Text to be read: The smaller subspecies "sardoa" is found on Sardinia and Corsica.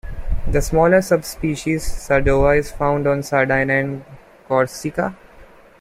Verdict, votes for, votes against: rejected, 0, 2